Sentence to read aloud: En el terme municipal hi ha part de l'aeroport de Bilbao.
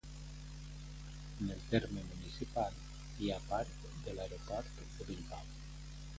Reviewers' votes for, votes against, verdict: 1, 2, rejected